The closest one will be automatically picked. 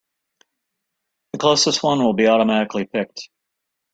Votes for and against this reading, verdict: 2, 0, accepted